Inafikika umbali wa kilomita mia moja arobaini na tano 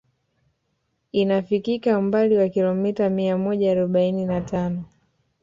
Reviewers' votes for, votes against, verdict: 2, 1, accepted